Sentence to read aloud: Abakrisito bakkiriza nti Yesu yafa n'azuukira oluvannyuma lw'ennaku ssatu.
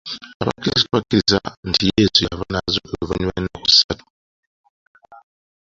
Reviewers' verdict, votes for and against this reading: accepted, 2, 0